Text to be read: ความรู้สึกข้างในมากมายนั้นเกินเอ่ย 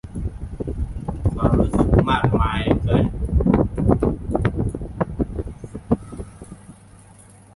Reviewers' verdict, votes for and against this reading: rejected, 0, 2